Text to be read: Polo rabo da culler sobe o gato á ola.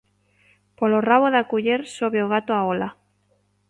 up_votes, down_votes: 2, 0